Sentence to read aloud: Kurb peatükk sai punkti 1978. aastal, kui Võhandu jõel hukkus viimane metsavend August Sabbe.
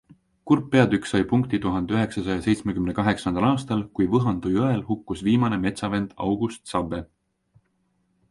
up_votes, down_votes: 0, 2